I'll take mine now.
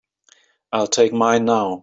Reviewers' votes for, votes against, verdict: 3, 0, accepted